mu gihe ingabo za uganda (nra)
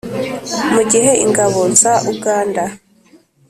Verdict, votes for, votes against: accepted, 2, 0